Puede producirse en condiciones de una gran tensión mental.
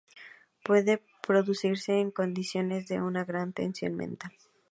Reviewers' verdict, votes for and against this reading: accepted, 4, 0